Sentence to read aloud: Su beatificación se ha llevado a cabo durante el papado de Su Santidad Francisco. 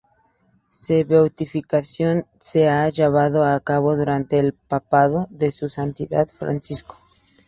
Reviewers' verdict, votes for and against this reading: rejected, 0, 2